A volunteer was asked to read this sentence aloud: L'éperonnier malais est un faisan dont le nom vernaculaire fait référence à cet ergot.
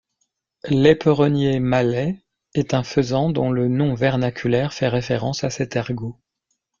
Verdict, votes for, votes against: accepted, 2, 0